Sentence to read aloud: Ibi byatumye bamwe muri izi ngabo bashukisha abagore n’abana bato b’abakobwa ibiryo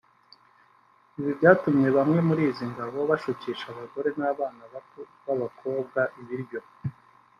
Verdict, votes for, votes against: rejected, 0, 2